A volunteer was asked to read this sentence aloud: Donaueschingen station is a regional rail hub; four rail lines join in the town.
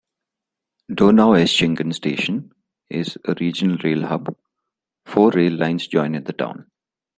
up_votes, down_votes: 2, 0